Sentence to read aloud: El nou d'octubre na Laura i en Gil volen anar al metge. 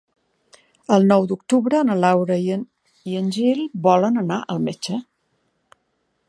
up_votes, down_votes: 0, 2